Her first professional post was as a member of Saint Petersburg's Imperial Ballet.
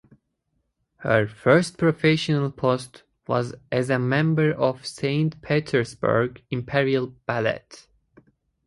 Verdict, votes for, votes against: rejected, 2, 2